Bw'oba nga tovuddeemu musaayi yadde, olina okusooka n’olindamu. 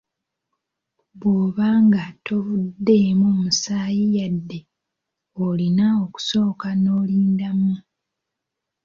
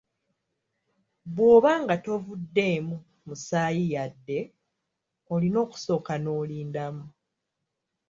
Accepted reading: first